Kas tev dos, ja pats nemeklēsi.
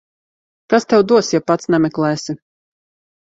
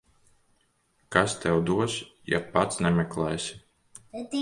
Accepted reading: first